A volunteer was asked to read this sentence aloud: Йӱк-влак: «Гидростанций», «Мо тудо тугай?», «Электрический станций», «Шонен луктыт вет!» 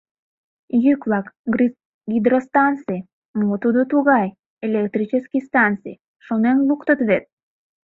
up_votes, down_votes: 0, 2